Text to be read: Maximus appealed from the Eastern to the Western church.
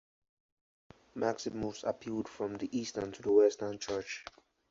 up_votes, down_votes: 4, 0